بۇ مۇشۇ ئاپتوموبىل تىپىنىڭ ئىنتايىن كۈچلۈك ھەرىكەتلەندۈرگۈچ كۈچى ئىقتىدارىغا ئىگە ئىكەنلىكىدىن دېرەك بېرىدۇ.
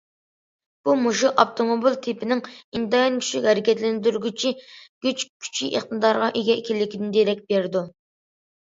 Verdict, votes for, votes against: rejected, 0, 2